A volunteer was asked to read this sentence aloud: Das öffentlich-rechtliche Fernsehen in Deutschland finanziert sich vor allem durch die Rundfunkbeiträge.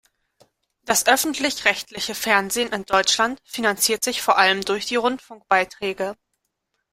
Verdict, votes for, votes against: accepted, 2, 0